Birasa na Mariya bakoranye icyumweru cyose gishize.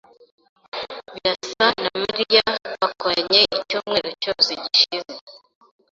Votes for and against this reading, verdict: 0, 2, rejected